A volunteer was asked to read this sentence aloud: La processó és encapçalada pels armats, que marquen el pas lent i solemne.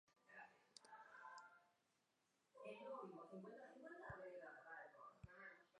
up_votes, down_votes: 0, 2